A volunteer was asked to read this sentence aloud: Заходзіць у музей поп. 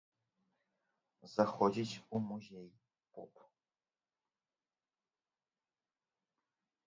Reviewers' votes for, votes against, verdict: 0, 2, rejected